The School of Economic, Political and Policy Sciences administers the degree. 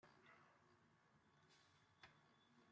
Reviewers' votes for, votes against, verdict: 0, 2, rejected